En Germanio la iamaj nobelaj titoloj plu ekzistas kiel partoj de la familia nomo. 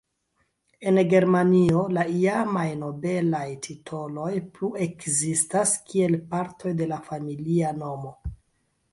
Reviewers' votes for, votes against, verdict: 2, 0, accepted